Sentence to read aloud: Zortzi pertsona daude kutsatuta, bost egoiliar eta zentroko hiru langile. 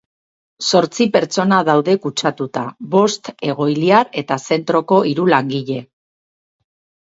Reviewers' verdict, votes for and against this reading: accepted, 4, 0